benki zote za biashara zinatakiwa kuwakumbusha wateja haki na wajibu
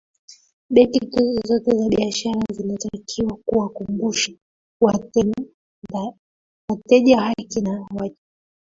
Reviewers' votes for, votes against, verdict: 0, 2, rejected